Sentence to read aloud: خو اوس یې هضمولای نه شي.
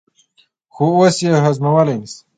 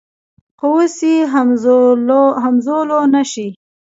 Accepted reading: first